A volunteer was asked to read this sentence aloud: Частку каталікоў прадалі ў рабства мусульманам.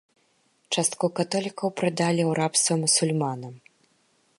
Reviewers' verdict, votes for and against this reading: rejected, 0, 3